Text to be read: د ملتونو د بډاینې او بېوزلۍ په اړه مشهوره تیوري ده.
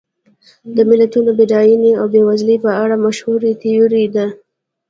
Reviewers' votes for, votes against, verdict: 1, 2, rejected